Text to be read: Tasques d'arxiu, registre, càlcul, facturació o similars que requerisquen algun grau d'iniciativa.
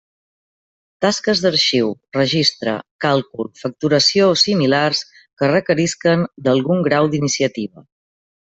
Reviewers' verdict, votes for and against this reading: rejected, 1, 2